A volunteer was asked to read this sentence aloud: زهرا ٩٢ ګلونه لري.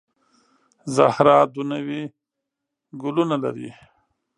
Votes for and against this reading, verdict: 0, 2, rejected